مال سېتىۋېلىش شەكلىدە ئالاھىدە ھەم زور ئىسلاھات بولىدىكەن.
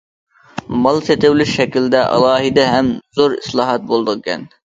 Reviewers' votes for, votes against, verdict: 1, 2, rejected